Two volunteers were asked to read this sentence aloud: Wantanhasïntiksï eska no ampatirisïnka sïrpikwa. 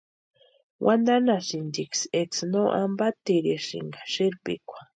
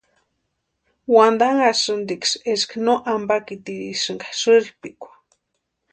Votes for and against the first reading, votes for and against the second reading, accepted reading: 0, 2, 2, 0, second